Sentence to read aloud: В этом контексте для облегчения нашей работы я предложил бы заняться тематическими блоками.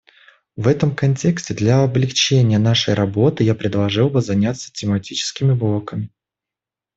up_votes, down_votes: 1, 2